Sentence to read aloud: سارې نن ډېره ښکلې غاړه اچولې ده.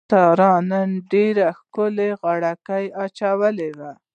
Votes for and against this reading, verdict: 1, 2, rejected